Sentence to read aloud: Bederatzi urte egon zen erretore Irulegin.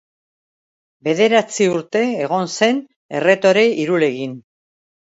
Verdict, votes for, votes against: accepted, 4, 0